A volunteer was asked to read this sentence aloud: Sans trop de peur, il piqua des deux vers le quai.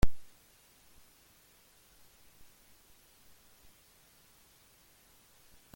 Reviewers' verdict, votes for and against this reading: rejected, 0, 2